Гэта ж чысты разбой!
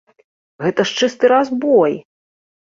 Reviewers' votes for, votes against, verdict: 2, 0, accepted